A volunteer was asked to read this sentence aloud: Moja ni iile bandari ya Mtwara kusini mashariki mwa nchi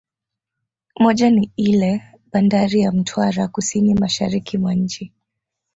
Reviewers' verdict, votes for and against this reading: rejected, 1, 2